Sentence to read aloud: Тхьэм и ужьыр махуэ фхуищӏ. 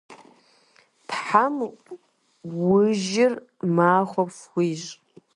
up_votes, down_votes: 2, 0